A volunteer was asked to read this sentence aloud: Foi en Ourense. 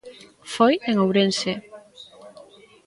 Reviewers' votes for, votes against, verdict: 0, 2, rejected